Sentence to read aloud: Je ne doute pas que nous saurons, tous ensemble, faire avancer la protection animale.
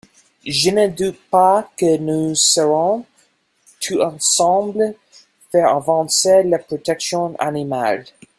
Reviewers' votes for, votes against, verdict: 1, 2, rejected